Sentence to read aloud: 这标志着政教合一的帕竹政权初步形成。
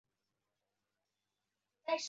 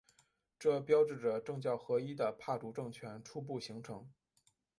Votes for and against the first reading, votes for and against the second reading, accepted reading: 0, 2, 2, 0, second